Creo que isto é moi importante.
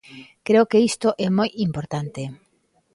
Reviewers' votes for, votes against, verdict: 2, 0, accepted